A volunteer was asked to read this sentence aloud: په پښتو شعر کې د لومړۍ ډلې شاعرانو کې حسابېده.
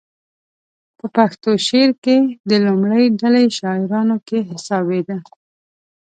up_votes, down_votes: 2, 0